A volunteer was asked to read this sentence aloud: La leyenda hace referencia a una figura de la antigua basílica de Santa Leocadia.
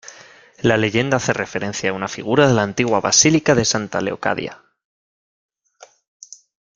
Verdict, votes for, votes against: accepted, 2, 0